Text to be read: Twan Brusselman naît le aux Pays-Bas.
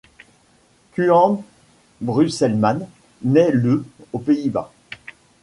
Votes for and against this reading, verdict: 2, 0, accepted